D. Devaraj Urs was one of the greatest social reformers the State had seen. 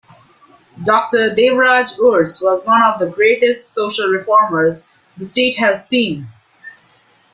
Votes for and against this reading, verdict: 1, 2, rejected